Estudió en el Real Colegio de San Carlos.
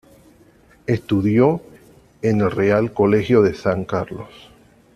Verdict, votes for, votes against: accepted, 2, 0